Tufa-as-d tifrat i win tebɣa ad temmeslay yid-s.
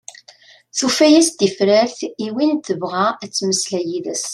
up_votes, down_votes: 2, 0